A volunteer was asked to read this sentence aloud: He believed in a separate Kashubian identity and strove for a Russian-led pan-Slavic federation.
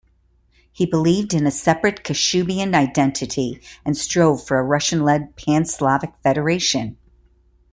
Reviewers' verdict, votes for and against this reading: accepted, 2, 0